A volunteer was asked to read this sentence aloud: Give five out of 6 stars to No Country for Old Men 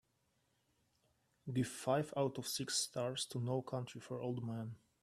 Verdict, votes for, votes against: rejected, 0, 2